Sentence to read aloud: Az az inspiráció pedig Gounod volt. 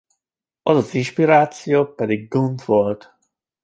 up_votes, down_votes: 2, 1